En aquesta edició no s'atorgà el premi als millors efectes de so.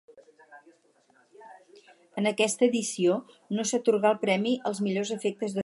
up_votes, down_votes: 2, 2